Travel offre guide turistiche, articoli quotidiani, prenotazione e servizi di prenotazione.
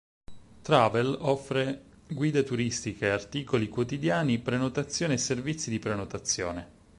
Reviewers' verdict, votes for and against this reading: accepted, 6, 0